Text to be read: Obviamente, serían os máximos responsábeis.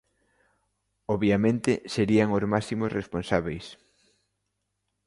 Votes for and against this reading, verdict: 2, 0, accepted